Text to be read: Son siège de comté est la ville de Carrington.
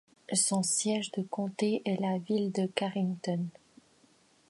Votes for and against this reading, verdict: 2, 0, accepted